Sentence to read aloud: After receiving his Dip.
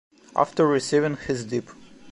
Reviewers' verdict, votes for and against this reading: accepted, 2, 0